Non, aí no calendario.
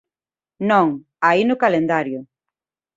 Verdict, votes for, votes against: accepted, 2, 0